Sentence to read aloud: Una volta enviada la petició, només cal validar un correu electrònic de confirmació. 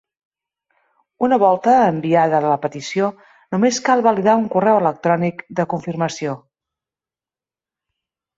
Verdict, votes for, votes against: accepted, 2, 0